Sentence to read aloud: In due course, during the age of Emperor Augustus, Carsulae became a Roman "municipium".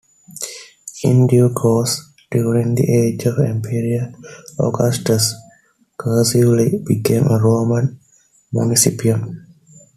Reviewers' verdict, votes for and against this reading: rejected, 0, 2